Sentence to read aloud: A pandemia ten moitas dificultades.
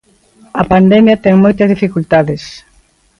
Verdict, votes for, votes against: accepted, 2, 0